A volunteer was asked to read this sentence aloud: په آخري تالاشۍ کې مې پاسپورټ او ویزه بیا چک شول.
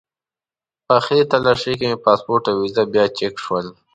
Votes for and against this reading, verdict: 2, 0, accepted